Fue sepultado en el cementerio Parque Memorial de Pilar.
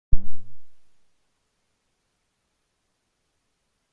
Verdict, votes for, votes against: rejected, 0, 2